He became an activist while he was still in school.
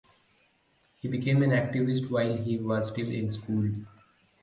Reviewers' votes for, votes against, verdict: 2, 2, rejected